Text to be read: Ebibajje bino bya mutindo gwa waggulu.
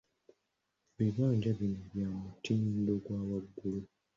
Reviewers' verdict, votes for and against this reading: rejected, 0, 2